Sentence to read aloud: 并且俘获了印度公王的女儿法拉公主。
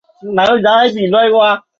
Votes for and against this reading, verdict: 0, 3, rejected